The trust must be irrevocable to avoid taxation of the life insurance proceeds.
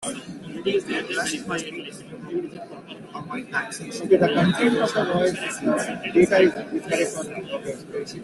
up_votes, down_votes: 0, 2